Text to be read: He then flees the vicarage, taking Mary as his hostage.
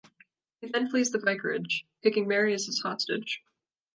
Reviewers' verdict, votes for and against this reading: accepted, 2, 0